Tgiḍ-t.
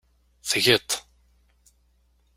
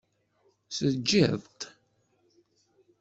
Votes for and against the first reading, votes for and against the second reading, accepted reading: 2, 0, 0, 2, first